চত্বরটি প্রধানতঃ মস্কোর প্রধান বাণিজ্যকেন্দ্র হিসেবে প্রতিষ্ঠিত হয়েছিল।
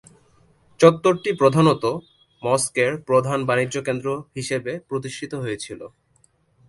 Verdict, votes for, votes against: accepted, 2, 1